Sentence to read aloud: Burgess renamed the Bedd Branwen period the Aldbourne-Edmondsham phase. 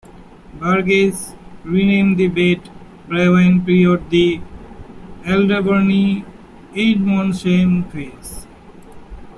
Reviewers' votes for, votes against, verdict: 0, 2, rejected